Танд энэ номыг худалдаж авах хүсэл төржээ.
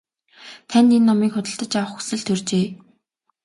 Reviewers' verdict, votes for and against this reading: accepted, 2, 1